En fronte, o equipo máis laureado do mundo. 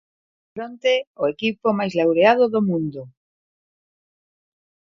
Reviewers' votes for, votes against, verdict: 1, 2, rejected